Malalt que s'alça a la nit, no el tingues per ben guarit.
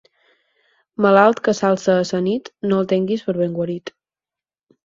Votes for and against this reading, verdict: 2, 4, rejected